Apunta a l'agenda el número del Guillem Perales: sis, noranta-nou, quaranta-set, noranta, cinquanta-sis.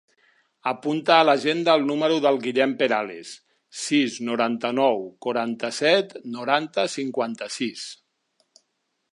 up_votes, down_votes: 4, 0